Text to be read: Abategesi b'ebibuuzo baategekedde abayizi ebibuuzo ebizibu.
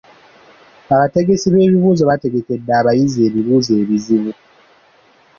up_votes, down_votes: 2, 0